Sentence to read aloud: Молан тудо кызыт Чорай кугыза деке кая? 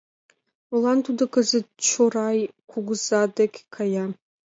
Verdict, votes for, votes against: accepted, 2, 0